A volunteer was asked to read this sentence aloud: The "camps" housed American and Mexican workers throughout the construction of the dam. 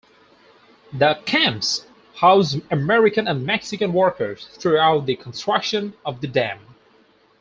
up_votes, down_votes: 4, 0